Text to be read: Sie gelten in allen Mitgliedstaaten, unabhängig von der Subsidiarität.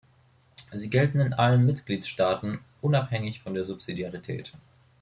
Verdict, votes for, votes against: accepted, 2, 0